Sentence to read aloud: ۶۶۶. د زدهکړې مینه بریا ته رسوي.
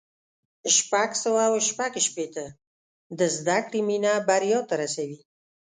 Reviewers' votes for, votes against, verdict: 0, 2, rejected